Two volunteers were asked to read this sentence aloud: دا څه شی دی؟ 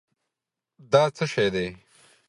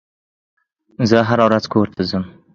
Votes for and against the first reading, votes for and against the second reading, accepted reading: 4, 0, 2, 3, first